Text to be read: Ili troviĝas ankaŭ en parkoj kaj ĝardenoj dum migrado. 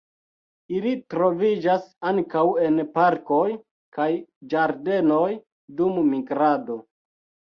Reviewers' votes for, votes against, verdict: 2, 0, accepted